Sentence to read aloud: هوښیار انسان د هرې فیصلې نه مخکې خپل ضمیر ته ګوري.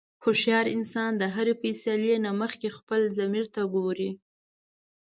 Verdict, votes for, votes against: accepted, 2, 0